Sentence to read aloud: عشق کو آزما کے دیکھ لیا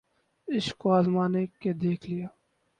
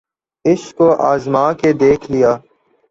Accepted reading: second